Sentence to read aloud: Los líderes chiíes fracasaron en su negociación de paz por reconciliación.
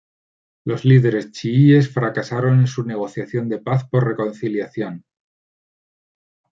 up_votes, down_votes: 2, 0